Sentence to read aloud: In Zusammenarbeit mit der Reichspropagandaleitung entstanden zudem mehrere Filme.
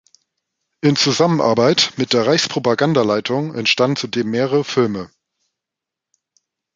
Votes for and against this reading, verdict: 1, 2, rejected